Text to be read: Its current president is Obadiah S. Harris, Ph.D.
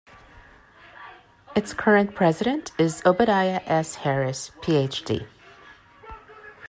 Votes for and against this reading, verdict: 1, 2, rejected